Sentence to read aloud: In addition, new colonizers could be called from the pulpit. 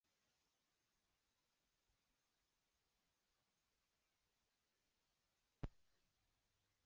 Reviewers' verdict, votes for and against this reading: rejected, 0, 2